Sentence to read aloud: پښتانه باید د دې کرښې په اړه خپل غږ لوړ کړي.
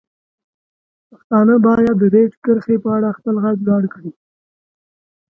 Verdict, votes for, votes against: accepted, 2, 0